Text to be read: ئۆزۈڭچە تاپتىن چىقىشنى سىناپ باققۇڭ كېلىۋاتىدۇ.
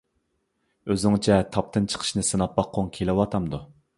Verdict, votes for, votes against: rejected, 0, 2